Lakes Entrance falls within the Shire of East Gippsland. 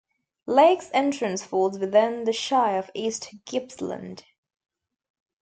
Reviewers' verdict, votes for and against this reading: accepted, 2, 0